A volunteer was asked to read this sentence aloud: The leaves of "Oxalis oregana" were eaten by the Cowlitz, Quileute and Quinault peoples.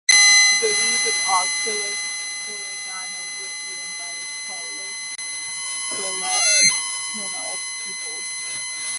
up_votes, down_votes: 0, 2